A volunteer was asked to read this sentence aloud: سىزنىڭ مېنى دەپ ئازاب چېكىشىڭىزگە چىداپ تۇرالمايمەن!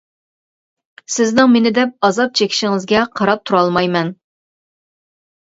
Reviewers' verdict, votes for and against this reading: rejected, 0, 2